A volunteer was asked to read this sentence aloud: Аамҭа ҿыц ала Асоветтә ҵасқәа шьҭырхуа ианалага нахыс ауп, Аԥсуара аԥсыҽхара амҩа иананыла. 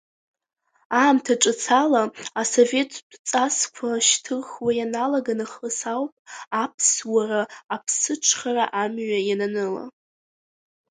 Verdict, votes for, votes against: rejected, 1, 2